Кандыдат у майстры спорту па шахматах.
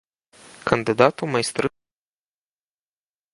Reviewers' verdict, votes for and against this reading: rejected, 0, 2